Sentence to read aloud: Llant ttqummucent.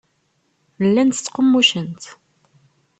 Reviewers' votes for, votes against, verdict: 2, 0, accepted